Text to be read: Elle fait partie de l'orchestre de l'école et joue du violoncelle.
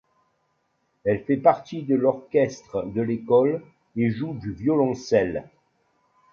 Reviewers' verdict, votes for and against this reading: accepted, 2, 0